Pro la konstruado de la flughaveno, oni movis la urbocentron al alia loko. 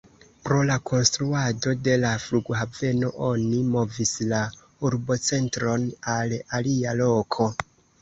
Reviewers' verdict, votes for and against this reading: accepted, 2, 1